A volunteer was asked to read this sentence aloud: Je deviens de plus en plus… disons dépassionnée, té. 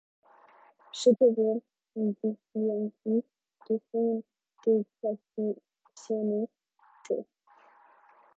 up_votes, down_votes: 0, 2